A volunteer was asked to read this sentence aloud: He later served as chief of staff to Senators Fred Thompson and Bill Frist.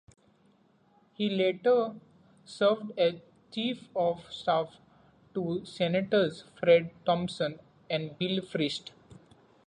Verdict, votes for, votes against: accepted, 2, 0